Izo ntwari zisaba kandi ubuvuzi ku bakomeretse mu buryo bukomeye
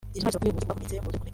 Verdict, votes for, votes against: rejected, 0, 2